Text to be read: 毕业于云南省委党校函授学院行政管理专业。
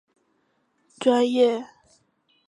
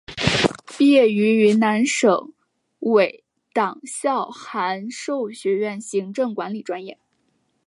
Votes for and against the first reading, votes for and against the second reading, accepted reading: 0, 3, 2, 0, second